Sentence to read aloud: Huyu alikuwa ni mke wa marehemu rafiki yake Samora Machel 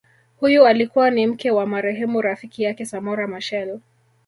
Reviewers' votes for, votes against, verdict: 0, 2, rejected